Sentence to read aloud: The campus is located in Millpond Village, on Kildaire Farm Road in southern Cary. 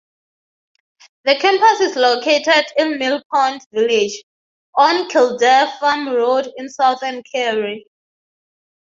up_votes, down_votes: 6, 3